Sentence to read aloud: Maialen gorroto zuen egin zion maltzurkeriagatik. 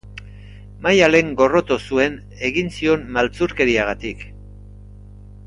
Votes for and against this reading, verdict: 2, 0, accepted